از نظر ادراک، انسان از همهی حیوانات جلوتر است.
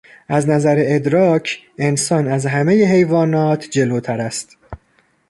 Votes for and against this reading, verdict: 3, 0, accepted